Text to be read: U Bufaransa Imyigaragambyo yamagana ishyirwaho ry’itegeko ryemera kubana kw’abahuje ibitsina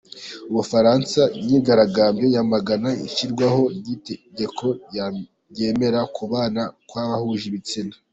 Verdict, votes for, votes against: accepted, 2, 1